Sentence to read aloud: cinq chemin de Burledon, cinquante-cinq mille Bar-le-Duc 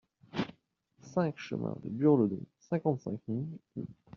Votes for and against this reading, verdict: 0, 2, rejected